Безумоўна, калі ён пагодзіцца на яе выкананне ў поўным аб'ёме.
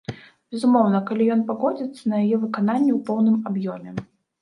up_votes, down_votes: 0, 2